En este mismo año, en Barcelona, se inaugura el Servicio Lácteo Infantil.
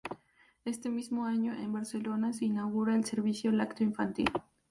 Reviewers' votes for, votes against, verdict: 0, 2, rejected